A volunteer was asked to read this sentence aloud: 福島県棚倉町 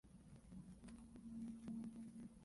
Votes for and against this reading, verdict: 0, 2, rejected